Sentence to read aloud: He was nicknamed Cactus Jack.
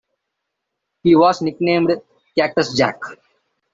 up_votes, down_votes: 2, 0